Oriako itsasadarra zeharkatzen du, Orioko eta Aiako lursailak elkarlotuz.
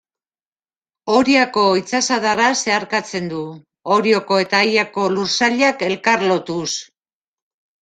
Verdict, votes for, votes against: accepted, 2, 0